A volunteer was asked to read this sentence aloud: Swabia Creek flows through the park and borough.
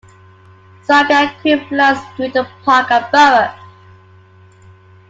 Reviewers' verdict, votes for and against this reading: rejected, 0, 2